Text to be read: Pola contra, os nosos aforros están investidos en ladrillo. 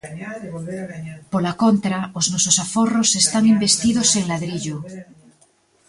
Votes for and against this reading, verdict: 1, 2, rejected